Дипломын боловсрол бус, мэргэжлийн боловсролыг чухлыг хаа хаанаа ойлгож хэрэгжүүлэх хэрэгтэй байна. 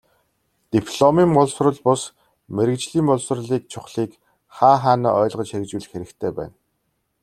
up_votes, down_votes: 2, 0